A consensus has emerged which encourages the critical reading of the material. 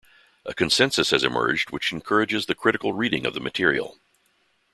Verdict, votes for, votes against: accepted, 2, 0